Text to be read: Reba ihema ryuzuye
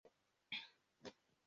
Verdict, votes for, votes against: rejected, 1, 2